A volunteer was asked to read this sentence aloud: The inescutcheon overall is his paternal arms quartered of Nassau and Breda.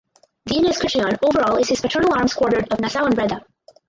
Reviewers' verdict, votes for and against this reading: rejected, 2, 4